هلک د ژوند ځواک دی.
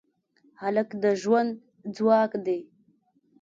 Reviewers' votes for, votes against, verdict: 2, 0, accepted